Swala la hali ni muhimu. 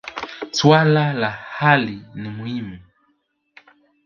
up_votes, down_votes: 1, 2